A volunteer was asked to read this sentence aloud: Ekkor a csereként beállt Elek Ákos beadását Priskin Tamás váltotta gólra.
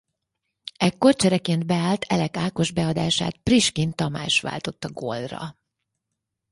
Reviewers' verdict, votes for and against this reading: rejected, 2, 4